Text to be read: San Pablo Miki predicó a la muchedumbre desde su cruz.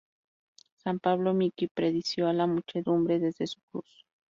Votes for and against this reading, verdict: 0, 2, rejected